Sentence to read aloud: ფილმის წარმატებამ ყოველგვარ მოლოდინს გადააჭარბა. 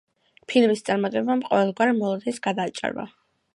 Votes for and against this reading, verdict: 2, 0, accepted